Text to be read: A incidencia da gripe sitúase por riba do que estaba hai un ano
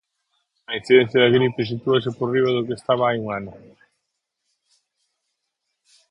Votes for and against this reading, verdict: 4, 0, accepted